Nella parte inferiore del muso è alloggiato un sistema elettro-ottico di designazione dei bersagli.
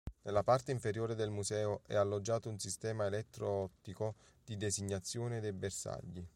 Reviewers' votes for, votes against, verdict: 1, 3, rejected